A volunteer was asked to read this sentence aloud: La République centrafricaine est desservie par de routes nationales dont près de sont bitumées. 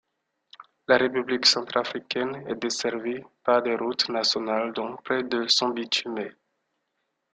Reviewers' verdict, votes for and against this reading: rejected, 1, 2